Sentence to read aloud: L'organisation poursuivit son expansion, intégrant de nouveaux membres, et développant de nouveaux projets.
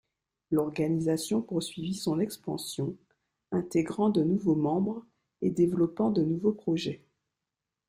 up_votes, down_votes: 2, 0